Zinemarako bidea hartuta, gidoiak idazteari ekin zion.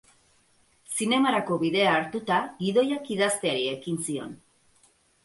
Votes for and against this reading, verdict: 4, 0, accepted